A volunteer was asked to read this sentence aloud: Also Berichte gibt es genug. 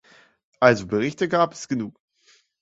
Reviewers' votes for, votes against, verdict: 0, 2, rejected